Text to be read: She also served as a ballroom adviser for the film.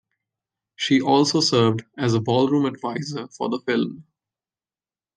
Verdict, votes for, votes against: accepted, 2, 0